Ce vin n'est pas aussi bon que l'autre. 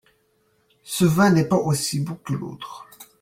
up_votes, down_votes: 3, 1